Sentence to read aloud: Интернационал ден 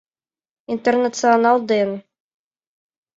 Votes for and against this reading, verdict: 2, 0, accepted